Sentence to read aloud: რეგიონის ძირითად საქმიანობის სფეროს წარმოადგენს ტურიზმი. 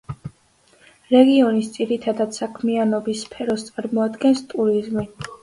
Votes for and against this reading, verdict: 0, 2, rejected